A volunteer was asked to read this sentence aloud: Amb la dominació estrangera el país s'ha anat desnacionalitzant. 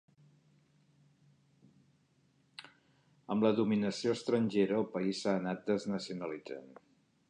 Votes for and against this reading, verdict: 4, 0, accepted